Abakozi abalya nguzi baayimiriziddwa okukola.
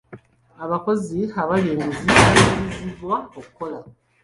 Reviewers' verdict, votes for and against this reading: accepted, 2, 1